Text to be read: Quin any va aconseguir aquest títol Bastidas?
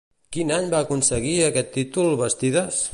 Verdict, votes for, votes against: accepted, 2, 0